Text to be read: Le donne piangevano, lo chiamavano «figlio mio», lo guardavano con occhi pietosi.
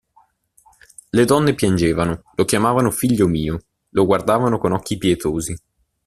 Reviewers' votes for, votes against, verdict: 2, 0, accepted